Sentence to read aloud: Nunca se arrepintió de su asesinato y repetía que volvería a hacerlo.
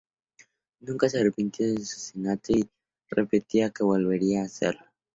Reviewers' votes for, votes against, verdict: 2, 2, rejected